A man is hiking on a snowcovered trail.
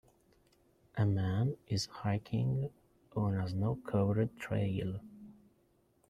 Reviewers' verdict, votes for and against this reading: rejected, 1, 2